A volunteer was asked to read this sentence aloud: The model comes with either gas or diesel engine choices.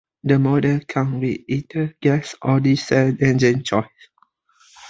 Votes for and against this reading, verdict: 2, 0, accepted